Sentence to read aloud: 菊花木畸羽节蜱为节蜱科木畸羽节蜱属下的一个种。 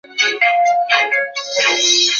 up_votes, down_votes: 1, 4